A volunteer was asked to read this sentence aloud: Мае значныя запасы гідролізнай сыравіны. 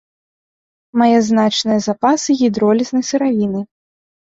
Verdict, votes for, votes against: accepted, 3, 1